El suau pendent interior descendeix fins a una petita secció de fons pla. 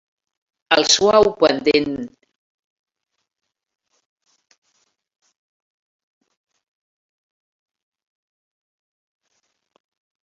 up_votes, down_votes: 0, 2